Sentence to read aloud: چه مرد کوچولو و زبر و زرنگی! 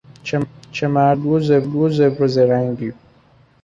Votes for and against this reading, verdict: 0, 2, rejected